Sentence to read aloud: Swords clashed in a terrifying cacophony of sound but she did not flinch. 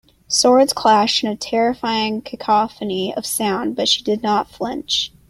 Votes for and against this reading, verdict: 2, 0, accepted